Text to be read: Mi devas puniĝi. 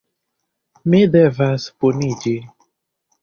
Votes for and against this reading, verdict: 2, 0, accepted